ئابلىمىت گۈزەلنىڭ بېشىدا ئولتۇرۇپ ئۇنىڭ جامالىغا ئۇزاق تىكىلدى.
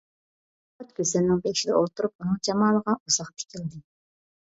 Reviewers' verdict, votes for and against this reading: rejected, 0, 2